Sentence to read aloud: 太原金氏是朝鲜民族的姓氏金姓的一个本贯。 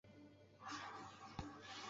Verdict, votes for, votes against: rejected, 0, 2